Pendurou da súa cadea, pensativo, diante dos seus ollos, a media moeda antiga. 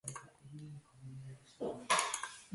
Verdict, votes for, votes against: rejected, 0, 2